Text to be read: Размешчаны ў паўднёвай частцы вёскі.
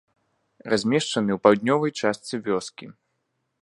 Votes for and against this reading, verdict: 2, 0, accepted